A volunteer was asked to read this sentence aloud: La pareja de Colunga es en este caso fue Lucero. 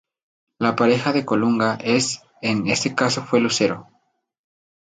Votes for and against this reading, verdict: 2, 0, accepted